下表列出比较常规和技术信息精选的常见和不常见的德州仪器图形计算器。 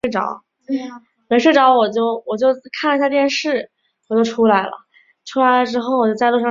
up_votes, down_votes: 0, 2